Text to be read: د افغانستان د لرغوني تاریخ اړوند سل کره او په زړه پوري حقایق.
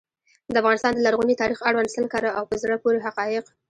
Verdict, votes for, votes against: rejected, 1, 2